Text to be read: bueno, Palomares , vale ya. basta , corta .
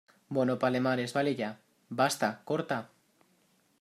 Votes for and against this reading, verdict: 1, 2, rejected